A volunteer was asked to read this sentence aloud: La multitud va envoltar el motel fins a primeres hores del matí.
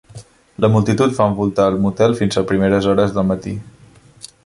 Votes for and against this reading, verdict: 1, 2, rejected